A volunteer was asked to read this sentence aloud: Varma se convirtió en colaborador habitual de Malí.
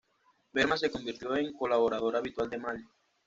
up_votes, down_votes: 1, 2